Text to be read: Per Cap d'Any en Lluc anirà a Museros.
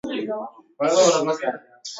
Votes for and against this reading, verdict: 1, 3, rejected